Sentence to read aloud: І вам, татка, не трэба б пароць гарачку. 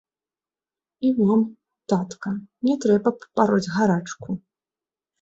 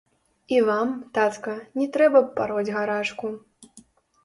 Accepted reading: first